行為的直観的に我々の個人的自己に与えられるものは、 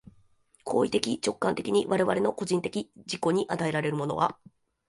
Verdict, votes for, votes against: accepted, 2, 0